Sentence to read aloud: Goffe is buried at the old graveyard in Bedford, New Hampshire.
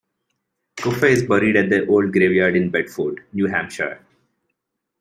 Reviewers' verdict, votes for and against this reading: rejected, 0, 2